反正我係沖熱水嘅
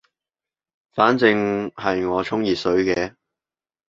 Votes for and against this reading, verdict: 0, 2, rejected